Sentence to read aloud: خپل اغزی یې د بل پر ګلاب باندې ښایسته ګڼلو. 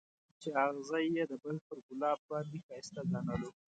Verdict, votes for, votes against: rejected, 1, 2